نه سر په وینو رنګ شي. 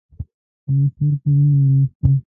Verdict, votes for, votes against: rejected, 1, 2